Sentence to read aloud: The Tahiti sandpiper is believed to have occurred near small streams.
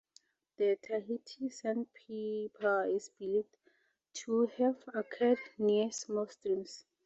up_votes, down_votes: 0, 2